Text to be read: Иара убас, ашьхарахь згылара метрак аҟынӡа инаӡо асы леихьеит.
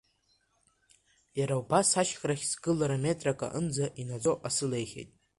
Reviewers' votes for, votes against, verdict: 1, 2, rejected